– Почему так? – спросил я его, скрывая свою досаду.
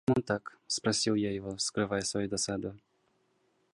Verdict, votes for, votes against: rejected, 1, 2